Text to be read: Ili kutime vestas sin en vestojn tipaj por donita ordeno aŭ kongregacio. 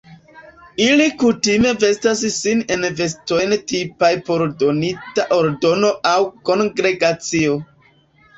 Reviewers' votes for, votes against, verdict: 1, 2, rejected